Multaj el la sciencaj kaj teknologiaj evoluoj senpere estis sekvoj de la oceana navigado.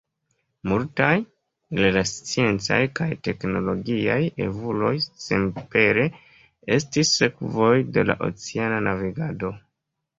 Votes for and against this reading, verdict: 2, 1, accepted